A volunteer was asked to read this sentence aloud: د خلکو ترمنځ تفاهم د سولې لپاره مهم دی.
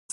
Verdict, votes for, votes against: rejected, 0, 2